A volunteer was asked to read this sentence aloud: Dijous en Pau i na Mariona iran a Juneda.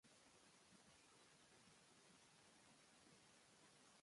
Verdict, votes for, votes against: rejected, 1, 2